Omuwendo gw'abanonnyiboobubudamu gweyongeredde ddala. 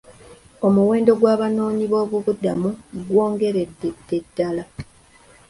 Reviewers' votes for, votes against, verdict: 0, 3, rejected